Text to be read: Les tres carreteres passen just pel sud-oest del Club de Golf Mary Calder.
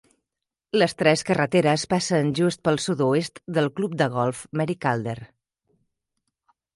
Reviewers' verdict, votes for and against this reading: accepted, 3, 0